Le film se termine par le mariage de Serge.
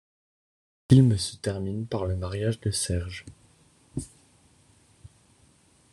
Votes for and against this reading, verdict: 1, 2, rejected